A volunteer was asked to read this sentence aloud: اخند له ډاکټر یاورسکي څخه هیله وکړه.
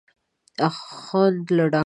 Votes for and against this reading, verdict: 0, 2, rejected